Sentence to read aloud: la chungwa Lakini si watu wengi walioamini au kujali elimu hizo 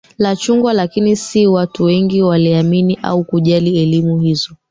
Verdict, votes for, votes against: rejected, 0, 2